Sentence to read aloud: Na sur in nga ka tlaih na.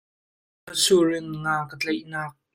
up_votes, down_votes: 1, 2